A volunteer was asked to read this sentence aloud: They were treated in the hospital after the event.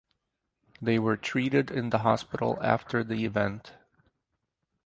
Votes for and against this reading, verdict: 4, 0, accepted